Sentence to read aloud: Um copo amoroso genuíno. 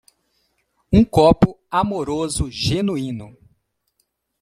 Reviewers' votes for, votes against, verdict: 2, 0, accepted